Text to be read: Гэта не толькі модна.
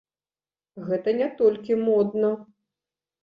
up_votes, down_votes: 1, 2